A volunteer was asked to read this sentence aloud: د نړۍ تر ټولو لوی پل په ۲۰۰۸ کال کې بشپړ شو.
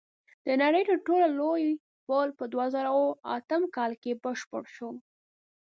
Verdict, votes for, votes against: rejected, 0, 2